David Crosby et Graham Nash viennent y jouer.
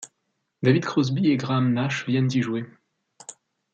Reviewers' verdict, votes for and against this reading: accepted, 2, 0